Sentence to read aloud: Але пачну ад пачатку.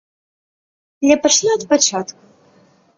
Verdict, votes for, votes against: rejected, 0, 2